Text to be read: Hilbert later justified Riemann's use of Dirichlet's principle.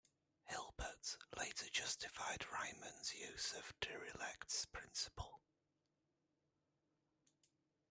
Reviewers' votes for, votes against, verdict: 0, 2, rejected